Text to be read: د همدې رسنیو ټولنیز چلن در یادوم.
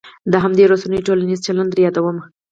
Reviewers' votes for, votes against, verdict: 2, 2, rejected